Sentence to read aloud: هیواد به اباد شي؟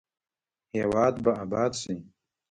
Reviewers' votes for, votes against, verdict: 0, 2, rejected